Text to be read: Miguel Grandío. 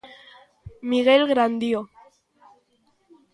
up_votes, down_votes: 2, 0